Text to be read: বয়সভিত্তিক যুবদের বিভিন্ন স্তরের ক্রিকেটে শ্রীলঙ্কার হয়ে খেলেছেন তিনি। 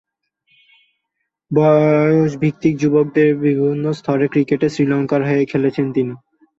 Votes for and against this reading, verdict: 3, 4, rejected